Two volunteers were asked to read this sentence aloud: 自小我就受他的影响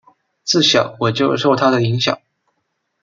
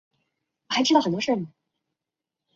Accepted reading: first